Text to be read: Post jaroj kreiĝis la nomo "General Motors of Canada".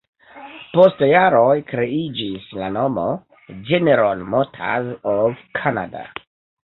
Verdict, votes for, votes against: rejected, 0, 2